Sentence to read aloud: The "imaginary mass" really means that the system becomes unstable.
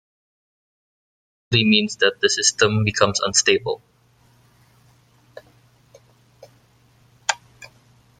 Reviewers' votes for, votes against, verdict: 0, 2, rejected